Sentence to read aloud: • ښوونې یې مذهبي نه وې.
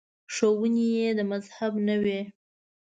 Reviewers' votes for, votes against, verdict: 0, 2, rejected